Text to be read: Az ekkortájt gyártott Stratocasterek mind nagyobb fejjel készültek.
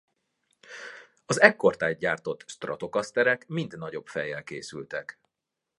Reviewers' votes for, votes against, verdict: 2, 0, accepted